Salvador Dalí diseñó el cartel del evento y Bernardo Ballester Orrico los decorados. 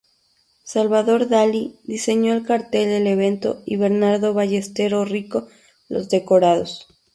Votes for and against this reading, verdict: 2, 2, rejected